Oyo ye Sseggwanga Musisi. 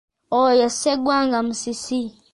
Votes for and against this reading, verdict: 1, 2, rejected